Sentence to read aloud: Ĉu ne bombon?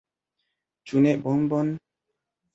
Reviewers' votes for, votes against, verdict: 2, 0, accepted